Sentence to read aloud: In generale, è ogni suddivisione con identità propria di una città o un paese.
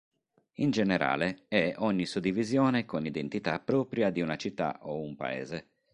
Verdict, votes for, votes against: accepted, 3, 0